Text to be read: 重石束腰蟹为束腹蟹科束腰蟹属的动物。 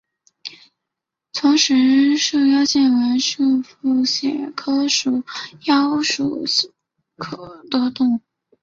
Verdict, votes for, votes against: rejected, 0, 3